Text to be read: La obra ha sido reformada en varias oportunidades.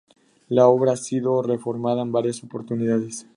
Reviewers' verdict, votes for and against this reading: accepted, 2, 0